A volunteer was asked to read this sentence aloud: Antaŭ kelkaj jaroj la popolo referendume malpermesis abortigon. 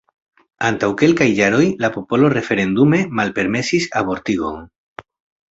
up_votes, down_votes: 2, 0